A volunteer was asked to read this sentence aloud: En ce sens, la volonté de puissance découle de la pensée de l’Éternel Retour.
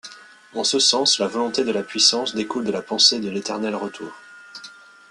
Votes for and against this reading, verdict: 2, 0, accepted